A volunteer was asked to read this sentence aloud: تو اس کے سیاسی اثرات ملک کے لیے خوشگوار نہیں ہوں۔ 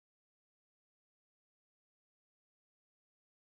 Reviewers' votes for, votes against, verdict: 0, 2, rejected